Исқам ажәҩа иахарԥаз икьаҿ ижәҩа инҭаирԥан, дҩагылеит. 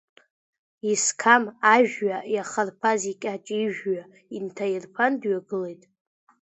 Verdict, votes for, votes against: accepted, 2, 0